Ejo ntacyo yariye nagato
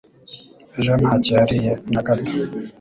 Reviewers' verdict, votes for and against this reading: accepted, 3, 0